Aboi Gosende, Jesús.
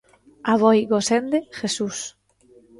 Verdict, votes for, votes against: accepted, 2, 0